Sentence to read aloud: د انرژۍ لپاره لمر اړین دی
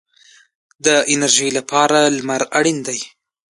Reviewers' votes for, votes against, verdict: 1, 2, rejected